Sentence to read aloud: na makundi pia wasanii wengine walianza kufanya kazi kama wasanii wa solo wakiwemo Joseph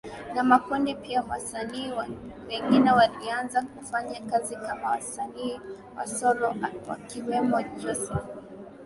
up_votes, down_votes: 0, 2